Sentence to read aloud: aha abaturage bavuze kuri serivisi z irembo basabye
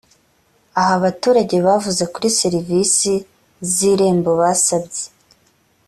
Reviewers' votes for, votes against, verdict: 2, 0, accepted